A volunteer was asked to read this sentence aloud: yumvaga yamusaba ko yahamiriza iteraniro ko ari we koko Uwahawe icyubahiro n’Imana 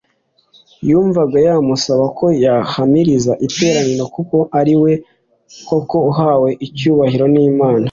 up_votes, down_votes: 2, 1